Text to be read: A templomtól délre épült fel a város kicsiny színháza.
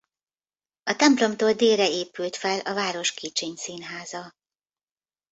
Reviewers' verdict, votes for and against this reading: accepted, 2, 0